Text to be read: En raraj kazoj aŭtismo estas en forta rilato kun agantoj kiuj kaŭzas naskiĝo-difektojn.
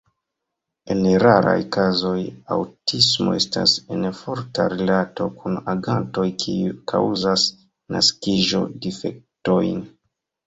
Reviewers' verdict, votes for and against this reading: rejected, 1, 2